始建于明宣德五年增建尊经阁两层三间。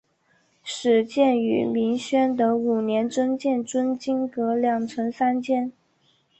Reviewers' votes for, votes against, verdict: 2, 0, accepted